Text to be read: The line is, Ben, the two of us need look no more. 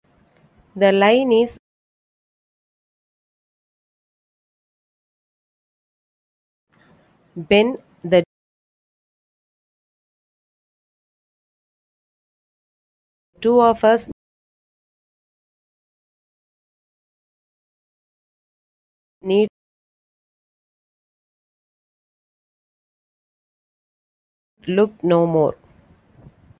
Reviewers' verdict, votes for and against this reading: rejected, 0, 2